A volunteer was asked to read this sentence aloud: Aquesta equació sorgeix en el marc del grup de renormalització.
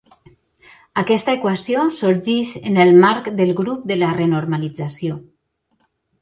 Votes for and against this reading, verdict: 0, 2, rejected